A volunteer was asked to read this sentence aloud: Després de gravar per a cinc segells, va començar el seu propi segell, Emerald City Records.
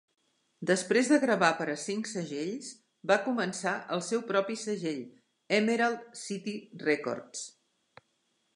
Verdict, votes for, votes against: accepted, 3, 0